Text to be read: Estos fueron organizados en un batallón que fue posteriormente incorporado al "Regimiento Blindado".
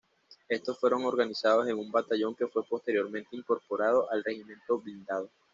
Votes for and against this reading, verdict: 2, 0, accepted